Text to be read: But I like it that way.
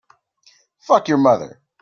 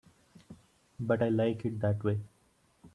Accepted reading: second